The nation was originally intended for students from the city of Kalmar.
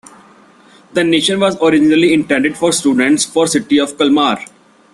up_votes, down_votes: 1, 2